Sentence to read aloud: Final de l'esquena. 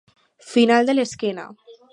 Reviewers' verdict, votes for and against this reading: accepted, 4, 0